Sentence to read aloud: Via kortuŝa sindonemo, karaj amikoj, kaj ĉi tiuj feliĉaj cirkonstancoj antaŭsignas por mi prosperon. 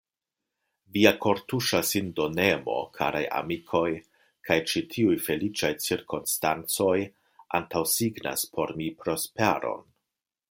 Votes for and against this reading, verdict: 2, 0, accepted